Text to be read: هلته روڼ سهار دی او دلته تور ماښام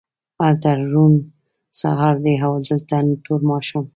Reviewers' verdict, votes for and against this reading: accepted, 2, 1